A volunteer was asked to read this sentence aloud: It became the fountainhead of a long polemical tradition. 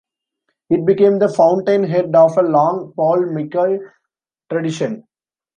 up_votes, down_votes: 1, 2